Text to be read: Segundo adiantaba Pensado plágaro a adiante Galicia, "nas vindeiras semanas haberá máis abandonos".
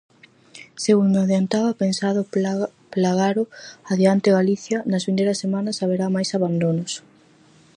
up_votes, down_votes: 0, 4